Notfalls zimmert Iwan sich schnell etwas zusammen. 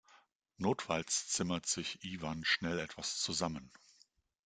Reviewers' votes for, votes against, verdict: 0, 2, rejected